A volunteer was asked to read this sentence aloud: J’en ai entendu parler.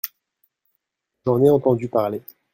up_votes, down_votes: 1, 2